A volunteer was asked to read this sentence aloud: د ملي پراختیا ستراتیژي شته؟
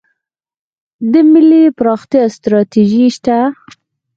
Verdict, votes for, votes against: accepted, 4, 0